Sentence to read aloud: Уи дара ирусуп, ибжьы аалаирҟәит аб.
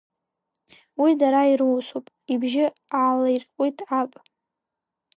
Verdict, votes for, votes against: rejected, 2, 3